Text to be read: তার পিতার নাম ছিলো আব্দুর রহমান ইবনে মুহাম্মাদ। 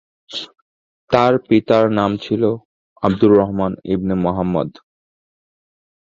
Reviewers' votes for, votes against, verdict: 2, 0, accepted